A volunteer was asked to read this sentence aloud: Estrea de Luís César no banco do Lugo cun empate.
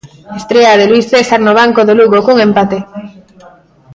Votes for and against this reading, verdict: 0, 2, rejected